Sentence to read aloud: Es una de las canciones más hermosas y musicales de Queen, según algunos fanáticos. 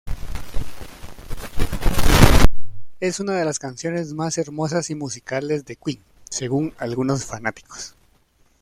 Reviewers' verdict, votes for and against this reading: accepted, 2, 1